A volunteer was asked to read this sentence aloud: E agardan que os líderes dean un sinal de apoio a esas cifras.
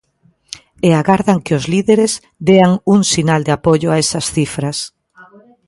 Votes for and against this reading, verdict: 2, 0, accepted